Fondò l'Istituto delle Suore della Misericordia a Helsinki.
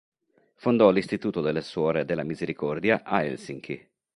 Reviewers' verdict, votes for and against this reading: accepted, 3, 0